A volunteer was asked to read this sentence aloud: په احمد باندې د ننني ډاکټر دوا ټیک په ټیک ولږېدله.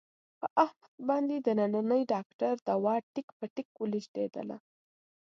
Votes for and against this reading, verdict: 0, 2, rejected